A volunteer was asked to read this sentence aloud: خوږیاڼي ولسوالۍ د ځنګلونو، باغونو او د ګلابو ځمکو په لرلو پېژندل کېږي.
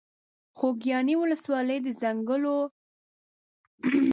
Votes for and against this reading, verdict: 0, 2, rejected